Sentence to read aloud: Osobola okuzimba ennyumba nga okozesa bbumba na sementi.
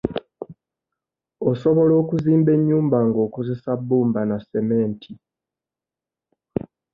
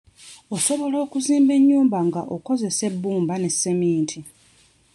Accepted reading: first